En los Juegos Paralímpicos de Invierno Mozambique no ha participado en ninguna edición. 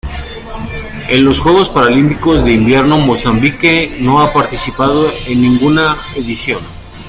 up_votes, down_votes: 2, 1